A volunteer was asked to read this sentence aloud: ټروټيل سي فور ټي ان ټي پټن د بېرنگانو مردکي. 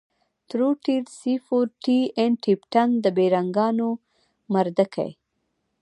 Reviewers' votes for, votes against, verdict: 2, 0, accepted